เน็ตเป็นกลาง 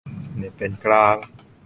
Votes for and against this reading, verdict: 2, 0, accepted